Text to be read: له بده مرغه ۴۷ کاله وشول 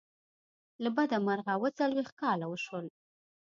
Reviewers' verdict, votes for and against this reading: rejected, 0, 2